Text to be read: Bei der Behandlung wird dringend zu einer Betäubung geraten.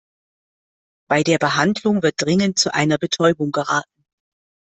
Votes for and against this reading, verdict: 2, 0, accepted